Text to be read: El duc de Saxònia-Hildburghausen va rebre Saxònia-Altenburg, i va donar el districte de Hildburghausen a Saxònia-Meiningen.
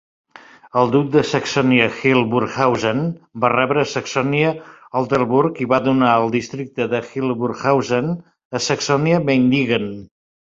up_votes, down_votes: 2, 0